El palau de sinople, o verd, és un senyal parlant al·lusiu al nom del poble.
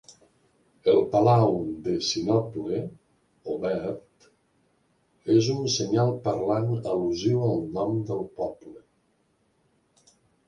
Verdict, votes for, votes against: accepted, 2, 0